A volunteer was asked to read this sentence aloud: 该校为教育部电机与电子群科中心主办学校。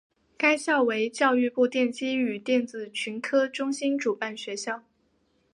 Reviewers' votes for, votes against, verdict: 1, 2, rejected